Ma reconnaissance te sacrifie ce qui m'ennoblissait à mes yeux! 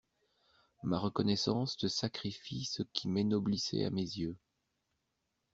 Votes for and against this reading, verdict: 0, 2, rejected